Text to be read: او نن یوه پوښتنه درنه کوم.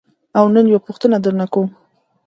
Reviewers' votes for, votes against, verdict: 2, 0, accepted